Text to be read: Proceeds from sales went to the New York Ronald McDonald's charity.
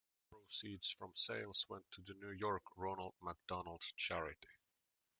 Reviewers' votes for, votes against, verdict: 0, 3, rejected